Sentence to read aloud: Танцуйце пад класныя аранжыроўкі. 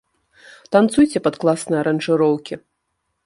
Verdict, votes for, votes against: accepted, 2, 0